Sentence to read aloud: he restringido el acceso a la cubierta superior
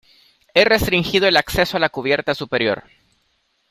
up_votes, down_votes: 2, 0